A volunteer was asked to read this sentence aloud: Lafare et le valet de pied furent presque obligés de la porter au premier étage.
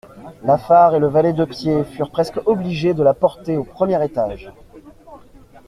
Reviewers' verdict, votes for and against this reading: accepted, 2, 0